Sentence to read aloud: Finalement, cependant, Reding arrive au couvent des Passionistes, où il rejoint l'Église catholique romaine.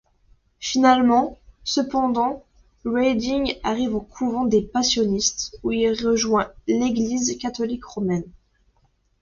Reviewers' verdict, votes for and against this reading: accepted, 2, 0